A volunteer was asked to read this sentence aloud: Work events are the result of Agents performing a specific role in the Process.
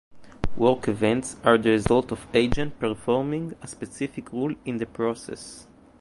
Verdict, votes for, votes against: rejected, 1, 2